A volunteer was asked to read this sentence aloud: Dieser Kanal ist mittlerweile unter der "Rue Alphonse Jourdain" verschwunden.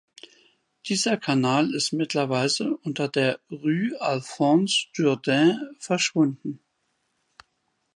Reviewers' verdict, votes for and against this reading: rejected, 0, 2